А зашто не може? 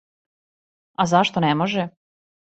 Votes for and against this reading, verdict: 2, 0, accepted